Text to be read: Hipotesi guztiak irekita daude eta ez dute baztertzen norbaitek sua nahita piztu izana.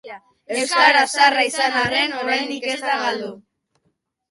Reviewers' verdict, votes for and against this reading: rejected, 0, 2